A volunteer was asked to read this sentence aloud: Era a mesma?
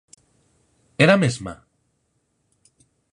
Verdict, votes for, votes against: accepted, 4, 0